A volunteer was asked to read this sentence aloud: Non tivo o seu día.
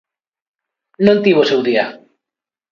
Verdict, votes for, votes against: accepted, 2, 0